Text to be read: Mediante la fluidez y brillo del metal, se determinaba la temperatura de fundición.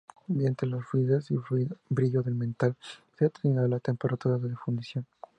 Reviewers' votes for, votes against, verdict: 0, 2, rejected